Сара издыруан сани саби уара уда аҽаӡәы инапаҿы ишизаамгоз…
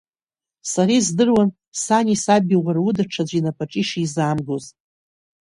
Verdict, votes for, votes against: accepted, 2, 0